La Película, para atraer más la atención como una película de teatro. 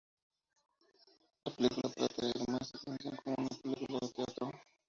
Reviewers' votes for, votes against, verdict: 0, 2, rejected